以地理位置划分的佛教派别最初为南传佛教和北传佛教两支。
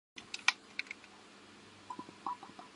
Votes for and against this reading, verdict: 0, 2, rejected